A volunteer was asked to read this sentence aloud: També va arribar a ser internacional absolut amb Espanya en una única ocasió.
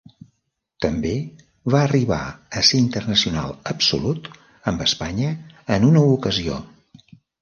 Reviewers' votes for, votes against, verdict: 1, 2, rejected